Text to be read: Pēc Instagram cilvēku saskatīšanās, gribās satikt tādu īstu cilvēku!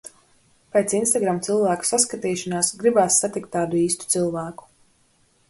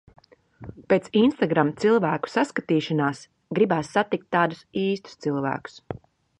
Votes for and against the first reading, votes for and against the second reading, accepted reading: 2, 0, 1, 2, first